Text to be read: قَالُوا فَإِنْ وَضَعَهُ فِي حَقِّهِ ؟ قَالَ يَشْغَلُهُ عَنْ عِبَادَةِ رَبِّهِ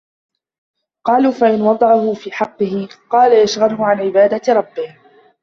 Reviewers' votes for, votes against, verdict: 0, 2, rejected